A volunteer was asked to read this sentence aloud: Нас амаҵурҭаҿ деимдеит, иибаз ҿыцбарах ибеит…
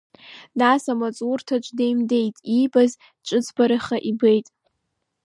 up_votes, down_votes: 1, 2